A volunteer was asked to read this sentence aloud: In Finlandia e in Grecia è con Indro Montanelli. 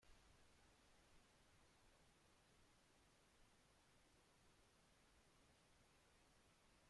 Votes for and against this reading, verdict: 0, 2, rejected